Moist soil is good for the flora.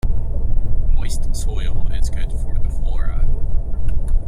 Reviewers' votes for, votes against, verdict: 2, 0, accepted